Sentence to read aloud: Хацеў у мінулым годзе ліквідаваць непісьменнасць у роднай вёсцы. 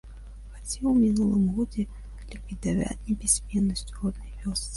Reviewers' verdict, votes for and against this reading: rejected, 0, 3